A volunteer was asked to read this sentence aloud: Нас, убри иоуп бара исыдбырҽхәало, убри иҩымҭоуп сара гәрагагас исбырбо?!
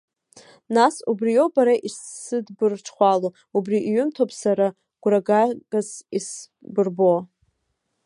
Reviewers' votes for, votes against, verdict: 0, 2, rejected